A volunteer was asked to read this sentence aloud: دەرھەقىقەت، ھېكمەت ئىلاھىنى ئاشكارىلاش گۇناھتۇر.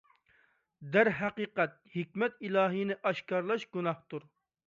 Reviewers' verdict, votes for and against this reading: accepted, 2, 0